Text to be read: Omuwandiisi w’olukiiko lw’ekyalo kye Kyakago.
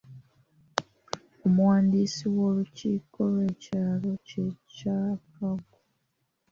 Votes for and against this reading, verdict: 1, 2, rejected